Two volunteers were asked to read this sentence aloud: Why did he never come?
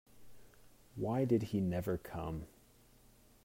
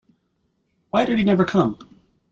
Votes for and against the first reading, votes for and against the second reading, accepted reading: 1, 2, 2, 0, second